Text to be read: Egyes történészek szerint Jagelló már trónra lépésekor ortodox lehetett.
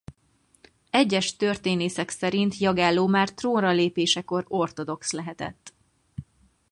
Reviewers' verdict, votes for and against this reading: accepted, 4, 0